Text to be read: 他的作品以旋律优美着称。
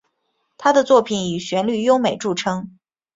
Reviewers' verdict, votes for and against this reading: accepted, 7, 1